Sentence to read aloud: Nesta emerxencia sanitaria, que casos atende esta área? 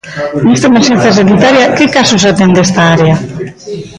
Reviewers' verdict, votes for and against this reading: rejected, 0, 2